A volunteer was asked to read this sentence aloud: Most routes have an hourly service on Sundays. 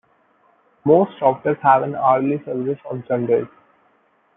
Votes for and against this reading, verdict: 0, 2, rejected